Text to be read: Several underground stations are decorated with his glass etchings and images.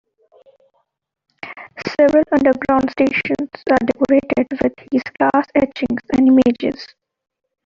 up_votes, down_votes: 2, 0